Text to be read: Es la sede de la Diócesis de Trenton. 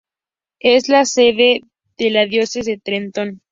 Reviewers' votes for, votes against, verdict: 0, 2, rejected